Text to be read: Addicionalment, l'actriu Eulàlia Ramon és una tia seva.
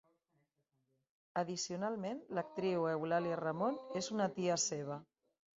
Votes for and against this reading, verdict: 3, 0, accepted